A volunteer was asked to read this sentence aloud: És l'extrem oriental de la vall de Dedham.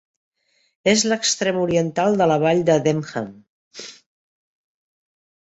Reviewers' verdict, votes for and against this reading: rejected, 1, 3